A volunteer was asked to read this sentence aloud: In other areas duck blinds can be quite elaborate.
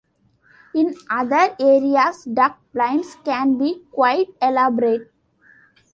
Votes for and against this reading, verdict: 2, 0, accepted